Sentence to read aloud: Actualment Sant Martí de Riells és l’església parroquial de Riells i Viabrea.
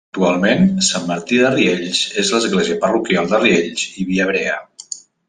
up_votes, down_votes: 1, 2